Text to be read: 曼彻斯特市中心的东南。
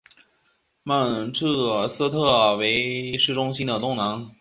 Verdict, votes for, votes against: rejected, 0, 2